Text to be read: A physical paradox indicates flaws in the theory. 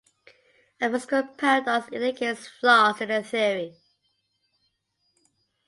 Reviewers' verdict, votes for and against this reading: rejected, 0, 2